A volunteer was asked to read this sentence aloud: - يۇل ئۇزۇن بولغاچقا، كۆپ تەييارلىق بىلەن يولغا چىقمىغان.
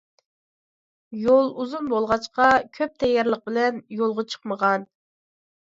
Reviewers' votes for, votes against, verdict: 2, 0, accepted